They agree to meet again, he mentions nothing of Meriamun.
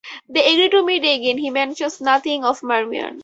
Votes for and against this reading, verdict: 2, 4, rejected